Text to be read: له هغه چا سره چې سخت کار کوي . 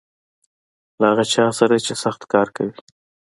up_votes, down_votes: 2, 1